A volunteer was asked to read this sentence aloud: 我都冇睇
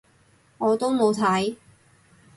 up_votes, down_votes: 2, 0